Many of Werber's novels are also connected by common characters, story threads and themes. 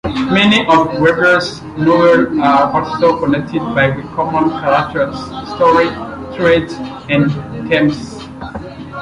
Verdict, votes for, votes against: rejected, 0, 2